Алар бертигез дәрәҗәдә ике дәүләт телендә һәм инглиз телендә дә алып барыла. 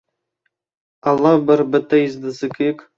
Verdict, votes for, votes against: rejected, 0, 2